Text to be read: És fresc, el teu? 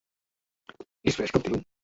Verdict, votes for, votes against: rejected, 1, 2